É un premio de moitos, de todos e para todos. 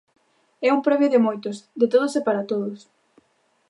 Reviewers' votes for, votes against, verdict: 2, 0, accepted